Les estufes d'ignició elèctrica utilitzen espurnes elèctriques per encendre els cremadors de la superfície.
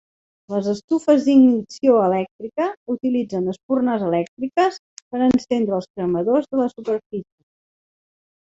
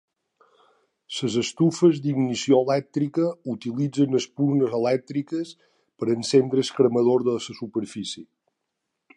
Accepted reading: first